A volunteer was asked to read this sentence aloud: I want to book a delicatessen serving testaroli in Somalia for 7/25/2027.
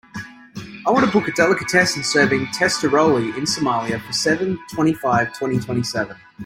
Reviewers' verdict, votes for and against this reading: rejected, 0, 2